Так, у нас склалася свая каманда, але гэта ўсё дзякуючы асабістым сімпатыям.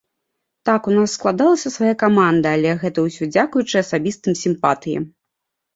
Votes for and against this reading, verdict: 1, 2, rejected